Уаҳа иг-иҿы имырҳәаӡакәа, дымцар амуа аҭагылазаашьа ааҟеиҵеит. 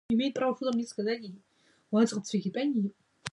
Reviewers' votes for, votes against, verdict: 0, 2, rejected